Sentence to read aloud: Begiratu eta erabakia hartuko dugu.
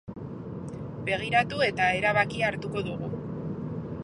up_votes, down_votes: 0, 2